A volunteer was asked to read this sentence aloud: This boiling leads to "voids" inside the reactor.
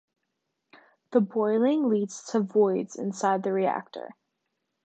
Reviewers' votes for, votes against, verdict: 0, 2, rejected